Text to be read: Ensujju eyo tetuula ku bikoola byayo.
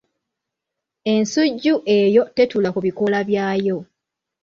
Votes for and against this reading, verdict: 1, 2, rejected